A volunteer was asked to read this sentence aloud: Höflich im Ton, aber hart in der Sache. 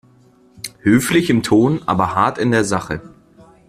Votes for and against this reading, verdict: 2, 0, accepted